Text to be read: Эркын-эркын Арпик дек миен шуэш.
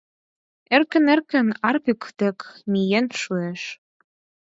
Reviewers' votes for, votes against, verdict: 4, 0, accepted